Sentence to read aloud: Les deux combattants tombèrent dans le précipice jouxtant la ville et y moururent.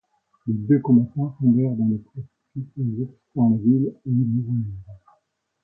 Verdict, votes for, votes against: rejected, 0, 2